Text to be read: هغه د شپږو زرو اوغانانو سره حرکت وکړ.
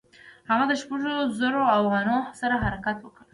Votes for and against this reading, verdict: 2, 1, accepted